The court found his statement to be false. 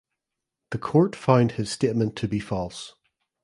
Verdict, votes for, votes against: rejected, 1, 2